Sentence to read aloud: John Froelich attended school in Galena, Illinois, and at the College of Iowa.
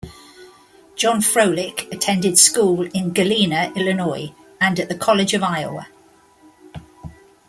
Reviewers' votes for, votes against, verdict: 2, 0, accepted